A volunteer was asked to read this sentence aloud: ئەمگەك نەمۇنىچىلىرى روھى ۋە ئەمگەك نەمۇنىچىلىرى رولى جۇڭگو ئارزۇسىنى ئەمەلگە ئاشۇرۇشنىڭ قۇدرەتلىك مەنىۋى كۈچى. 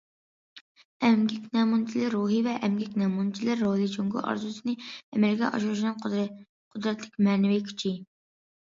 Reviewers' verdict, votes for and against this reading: rejected, 0, 2